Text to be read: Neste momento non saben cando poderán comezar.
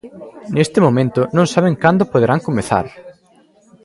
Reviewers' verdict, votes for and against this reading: rejected, 1, 2